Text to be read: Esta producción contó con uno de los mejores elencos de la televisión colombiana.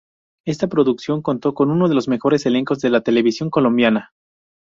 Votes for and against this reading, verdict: 4, 0, accepted